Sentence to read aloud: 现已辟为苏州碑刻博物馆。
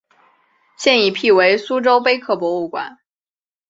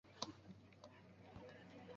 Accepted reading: first